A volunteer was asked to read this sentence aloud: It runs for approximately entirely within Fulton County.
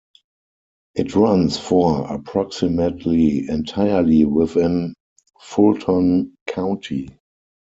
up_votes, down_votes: 2, 4